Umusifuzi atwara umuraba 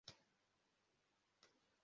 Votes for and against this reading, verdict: 0, 2, rejected